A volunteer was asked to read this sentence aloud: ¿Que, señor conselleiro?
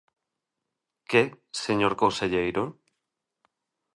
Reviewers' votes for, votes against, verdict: 2, 0, accepted